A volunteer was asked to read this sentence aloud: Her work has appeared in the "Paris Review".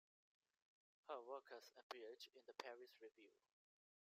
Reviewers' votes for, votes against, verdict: 2, 1, accepted